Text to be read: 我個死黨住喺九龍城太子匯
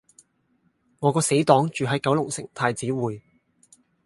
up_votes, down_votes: 4, 0